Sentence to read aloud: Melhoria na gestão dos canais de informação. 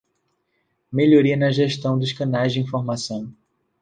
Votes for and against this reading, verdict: 2, 0, accepted